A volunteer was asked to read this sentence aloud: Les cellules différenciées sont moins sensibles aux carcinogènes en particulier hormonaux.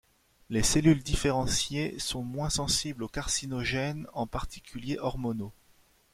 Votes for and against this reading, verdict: 2, 0, accepted